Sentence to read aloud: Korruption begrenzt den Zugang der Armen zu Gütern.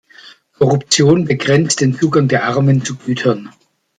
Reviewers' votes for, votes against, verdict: 2, 0, accepted